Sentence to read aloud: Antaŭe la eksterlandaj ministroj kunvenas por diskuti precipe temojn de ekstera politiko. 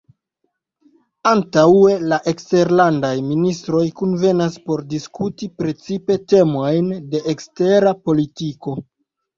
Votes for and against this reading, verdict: 2, 0, accepted